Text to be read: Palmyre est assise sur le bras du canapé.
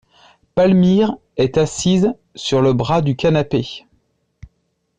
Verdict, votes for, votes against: accepted, 2, 0